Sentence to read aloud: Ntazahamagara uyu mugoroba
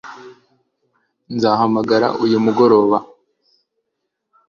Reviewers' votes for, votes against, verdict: 2, 0, accepted